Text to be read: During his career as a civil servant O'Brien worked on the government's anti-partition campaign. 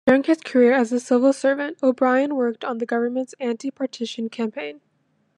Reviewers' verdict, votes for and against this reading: accepted, 2, 0